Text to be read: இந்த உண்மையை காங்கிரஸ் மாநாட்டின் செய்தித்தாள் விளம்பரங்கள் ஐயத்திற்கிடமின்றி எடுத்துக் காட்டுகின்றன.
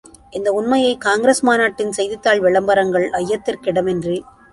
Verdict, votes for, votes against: rejected, 0, 2